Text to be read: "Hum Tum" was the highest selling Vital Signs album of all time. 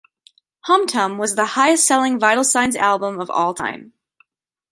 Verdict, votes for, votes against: accepted, 2, 0